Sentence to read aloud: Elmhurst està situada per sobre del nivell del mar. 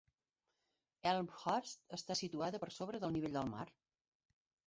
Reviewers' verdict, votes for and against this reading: accepted, 3, 0